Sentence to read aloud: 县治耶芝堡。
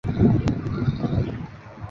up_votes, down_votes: 1, 2